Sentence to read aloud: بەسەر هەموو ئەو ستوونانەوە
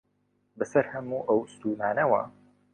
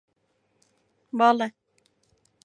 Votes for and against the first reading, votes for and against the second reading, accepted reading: 2, 0, 0, 2, first